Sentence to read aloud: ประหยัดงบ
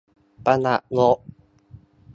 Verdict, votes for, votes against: accepted, 2, 0